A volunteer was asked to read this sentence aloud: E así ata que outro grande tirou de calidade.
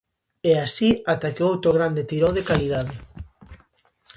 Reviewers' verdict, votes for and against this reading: accepted, 2, 0